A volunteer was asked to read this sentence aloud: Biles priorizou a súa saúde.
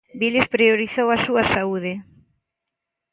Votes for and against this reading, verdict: 3, 0, accepted